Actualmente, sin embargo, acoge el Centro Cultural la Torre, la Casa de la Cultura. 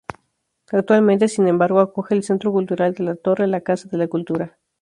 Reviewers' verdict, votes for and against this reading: rejected, 0, 2